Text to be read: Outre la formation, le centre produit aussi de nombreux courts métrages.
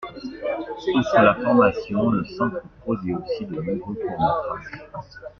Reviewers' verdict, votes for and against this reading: rejected, 0, 2